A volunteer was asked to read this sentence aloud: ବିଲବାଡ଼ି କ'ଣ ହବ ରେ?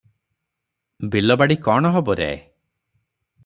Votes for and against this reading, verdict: 3, 0, accepted